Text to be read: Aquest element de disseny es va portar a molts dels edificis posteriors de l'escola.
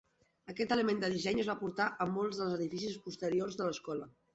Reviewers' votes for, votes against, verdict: 2, 0, accepted